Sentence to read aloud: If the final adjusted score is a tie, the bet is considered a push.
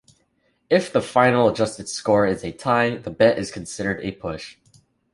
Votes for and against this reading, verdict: 2, 0, accepted